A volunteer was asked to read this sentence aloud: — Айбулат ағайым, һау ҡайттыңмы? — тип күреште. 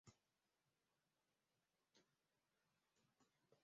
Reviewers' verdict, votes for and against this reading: rejected, 0, 2